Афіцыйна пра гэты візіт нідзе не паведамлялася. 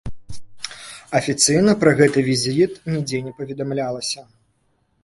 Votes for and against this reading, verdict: 2, 0, accepted